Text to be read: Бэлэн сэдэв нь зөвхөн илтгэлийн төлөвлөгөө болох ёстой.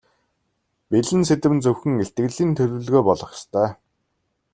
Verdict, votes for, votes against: accepted, 2, 0